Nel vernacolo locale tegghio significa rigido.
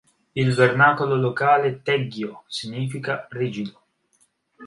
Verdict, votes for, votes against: rejected, 1, 2